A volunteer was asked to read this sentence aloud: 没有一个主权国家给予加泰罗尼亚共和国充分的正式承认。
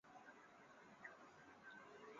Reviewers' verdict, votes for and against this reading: rejected, 0, 2